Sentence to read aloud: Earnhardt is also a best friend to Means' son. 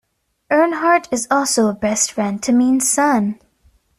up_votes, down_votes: 2, 0